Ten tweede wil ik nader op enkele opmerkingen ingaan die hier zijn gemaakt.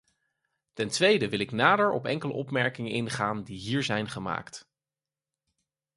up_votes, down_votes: 4, 0